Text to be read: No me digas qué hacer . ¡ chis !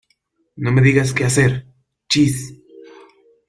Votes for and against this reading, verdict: 2, 0, accepted